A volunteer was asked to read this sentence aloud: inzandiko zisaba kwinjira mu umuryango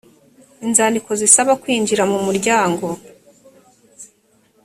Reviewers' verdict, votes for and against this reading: accepted, 4, 0